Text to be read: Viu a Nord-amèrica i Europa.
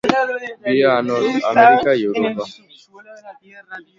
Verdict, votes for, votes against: rejected, 0, 2